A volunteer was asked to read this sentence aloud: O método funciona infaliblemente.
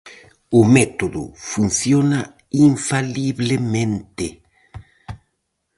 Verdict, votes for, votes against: rejected, 2, 2